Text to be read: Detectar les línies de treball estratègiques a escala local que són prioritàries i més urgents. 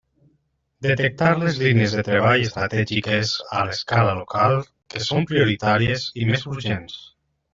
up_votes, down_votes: 0, 2